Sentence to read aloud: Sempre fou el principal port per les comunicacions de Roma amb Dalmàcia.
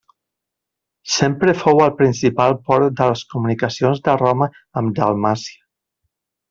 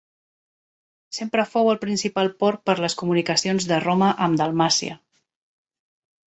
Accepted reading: second